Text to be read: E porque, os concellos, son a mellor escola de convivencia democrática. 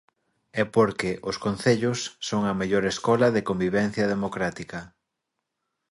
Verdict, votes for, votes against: accepted, 2, 0